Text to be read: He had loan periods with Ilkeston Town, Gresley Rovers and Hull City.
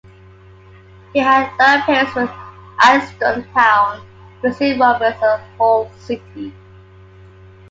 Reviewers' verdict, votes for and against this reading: rejected, 0, 2